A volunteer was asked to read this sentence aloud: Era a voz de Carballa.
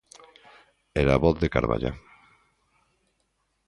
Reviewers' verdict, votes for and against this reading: accepted, 2, 0